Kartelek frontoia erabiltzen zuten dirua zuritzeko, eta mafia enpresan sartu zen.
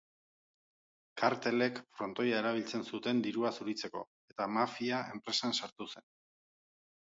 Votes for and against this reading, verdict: 3, 0, accepted